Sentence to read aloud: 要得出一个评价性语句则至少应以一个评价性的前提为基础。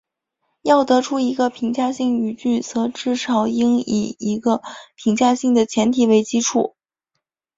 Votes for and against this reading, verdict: 2, 0, accepted